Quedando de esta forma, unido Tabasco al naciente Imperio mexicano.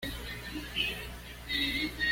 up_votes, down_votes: 1, 2